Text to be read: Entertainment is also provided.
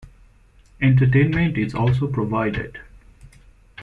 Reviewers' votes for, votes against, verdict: 2, 0, accepted